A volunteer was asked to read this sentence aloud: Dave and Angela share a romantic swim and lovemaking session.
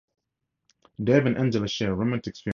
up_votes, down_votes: 0, 2